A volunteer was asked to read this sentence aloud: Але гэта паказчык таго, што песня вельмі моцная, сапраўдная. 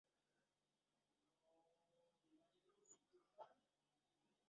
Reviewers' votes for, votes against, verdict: 0, 2, rejected